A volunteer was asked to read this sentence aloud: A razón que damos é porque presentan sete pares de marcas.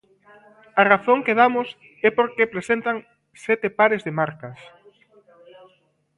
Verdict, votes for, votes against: rejected, 1, 2